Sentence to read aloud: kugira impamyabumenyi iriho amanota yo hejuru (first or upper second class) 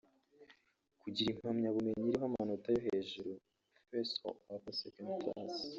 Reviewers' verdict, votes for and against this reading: rejected, 1, 2